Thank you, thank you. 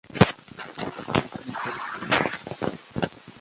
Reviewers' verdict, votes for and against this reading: rejected, 0, 2